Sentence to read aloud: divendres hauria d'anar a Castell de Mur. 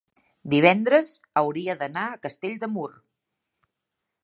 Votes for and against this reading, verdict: 3, 0, accepted